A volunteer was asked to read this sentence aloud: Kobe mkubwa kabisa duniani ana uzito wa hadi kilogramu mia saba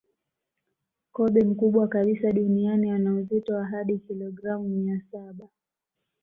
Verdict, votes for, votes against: accepted, 2, 0